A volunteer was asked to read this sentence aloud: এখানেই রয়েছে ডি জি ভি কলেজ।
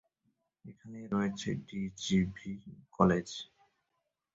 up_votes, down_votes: 0, 2